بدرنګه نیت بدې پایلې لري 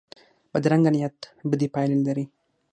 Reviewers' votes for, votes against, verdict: 6, 0, accepted